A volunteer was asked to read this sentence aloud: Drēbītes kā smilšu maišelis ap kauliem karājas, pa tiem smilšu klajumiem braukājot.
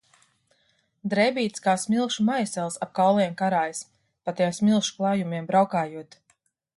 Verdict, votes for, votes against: rejected, 0, 2